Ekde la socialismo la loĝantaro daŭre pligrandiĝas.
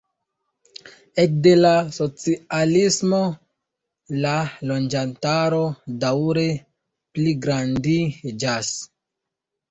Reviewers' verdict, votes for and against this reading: accepted, 2, 0